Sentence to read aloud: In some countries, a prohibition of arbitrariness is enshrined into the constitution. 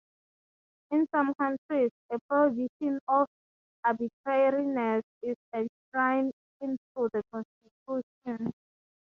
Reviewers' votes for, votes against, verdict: 3, 3, rejected